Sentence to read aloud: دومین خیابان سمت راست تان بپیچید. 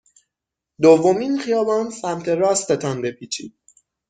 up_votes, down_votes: 6, 0